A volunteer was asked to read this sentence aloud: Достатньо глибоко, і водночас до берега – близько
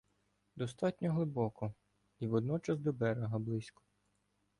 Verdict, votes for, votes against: accepted, 2, 0